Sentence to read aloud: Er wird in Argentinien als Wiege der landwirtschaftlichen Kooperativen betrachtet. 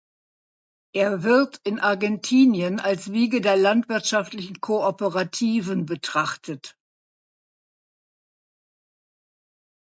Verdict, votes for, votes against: accepted, 2, 0